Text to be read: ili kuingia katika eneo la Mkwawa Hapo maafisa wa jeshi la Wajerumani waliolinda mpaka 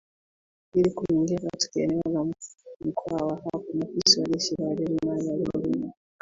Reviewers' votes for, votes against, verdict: 1, 2, rejected